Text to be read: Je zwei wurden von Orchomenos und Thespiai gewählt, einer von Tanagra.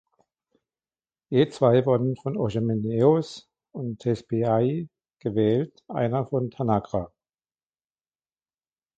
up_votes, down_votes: 2, 1